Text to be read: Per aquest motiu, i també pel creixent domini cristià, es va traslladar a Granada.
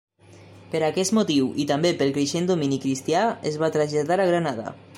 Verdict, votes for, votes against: accepted, 3, 0